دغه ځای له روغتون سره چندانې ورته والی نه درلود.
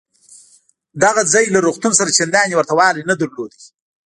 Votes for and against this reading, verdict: 1, 2, rejected